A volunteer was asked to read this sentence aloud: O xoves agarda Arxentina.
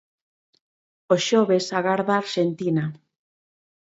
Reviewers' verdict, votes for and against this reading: accepted, 2, 0